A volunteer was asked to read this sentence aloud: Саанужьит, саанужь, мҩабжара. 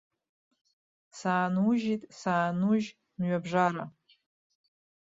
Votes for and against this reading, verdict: 1, 2, rejected